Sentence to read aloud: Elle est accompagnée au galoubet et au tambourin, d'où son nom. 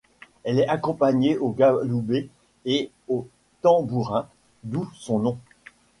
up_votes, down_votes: 1, 2